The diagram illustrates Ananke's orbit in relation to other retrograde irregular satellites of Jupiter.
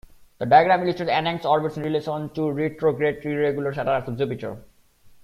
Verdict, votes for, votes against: rejected, 1, 2